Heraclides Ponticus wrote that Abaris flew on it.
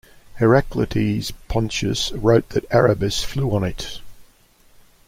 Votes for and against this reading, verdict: 0, 2, rejected